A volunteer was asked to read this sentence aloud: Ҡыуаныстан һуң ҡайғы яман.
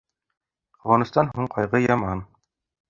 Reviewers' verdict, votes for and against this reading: rejected, 1, 2